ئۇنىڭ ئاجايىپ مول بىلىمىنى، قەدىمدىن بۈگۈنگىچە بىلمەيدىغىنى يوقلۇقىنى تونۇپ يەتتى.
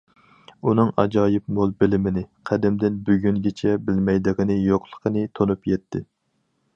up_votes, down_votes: 4, 0